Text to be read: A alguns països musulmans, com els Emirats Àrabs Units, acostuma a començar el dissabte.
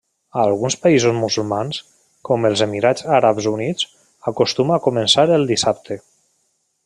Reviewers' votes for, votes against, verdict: 3, 0, accepted